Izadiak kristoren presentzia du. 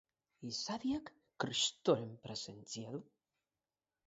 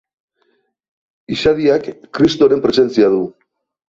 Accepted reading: second